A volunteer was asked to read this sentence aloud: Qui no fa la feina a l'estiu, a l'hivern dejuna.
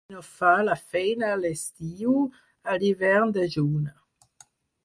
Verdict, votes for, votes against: rejected, 2, 4